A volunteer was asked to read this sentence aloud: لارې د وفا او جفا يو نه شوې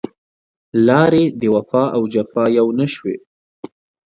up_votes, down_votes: 2, 0